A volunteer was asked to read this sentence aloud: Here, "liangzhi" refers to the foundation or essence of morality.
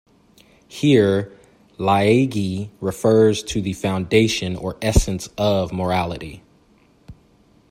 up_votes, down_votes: 0, 2